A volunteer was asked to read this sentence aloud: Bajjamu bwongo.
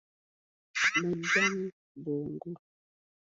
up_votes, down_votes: 1, 2